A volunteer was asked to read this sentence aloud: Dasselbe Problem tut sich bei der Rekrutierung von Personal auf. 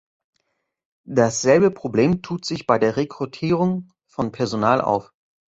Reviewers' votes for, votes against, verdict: 2, 0, accepted